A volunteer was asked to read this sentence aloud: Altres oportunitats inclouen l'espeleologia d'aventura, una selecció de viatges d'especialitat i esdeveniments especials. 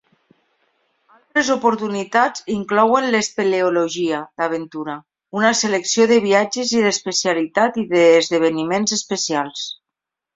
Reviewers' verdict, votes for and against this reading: rejected, 0, 2